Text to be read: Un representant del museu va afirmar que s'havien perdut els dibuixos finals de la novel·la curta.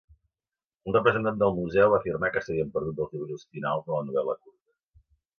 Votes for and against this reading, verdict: 0, 3, rejected